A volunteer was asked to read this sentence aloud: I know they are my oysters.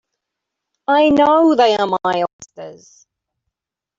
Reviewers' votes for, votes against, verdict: 1, 2, rejected